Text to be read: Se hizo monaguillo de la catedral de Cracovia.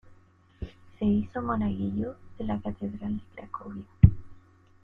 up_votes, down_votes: 2, 0